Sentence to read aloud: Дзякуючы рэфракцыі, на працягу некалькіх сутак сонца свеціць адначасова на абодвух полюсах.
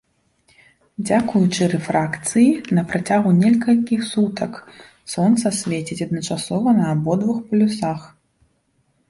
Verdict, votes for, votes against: rejected, 1, 2